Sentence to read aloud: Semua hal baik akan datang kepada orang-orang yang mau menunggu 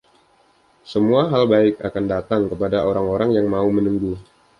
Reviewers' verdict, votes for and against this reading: accepted, 2, 0